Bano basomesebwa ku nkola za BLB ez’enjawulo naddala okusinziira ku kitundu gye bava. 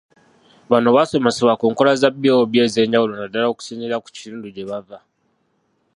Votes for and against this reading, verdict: 0, 2, rejected